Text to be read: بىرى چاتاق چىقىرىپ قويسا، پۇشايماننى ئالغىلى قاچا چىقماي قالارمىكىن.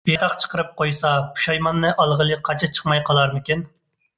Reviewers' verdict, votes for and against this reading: rejected, 0, 2